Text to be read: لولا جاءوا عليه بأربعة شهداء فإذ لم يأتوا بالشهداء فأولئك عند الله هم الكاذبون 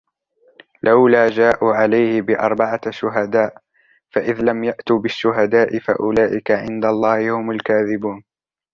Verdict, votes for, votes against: accepted, 2, 0